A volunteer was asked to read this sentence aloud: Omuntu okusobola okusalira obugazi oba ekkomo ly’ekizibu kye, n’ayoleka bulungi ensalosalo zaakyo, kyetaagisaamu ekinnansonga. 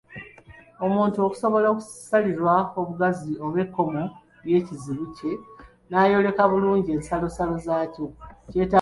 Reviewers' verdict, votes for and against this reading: rejected, 0, 2